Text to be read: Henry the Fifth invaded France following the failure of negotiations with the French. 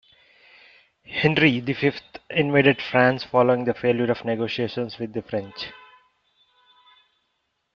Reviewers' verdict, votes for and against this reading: rejected, 0, 2